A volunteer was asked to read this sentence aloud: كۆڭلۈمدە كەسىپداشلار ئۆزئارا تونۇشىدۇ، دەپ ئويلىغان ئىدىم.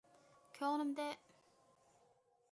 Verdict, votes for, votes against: rejected, 0, 2